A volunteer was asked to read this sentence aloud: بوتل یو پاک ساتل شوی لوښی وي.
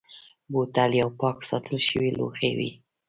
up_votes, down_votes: 2, 0